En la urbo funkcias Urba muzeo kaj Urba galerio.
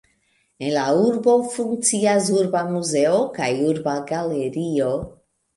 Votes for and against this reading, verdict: 2, 0, accepted